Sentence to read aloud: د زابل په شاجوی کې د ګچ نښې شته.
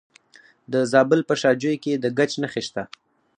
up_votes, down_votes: 4, 2